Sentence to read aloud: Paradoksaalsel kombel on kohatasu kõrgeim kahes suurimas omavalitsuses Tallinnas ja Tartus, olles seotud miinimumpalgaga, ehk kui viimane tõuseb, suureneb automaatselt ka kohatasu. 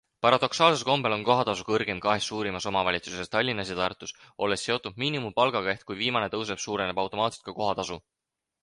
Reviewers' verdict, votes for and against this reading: accepted, 4, 0